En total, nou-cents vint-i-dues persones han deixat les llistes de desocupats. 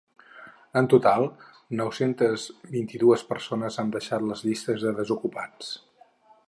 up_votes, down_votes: 0, 4